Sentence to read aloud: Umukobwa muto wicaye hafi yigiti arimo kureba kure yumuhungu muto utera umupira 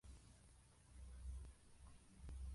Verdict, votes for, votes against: rejected, 0, 2